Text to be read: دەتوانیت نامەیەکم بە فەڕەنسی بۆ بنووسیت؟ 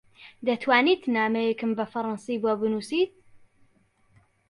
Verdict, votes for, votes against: accepted, 2, 0